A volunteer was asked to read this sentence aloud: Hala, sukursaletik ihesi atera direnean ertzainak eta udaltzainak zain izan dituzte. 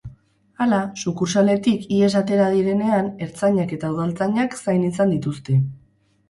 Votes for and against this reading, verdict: 2, 2, rejected